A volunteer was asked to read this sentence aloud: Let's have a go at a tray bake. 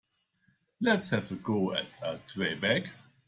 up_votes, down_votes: 2, 0